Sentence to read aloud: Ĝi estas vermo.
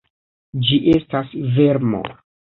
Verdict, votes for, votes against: accepted, 2, 0